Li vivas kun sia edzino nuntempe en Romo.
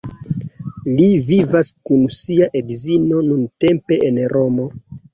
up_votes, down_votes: 2, 1